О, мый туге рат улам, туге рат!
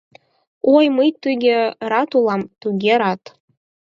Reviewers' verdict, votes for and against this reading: accepted, 4, 0